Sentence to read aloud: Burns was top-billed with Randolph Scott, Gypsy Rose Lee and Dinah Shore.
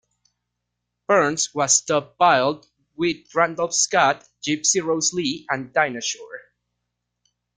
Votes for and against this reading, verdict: 1, 2, rejected